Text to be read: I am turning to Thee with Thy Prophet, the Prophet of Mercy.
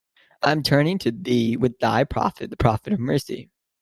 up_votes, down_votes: 2, 0